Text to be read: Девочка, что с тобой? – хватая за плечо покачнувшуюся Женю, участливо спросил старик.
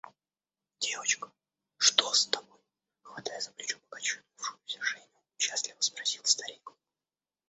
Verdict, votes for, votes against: rejected, 0, 2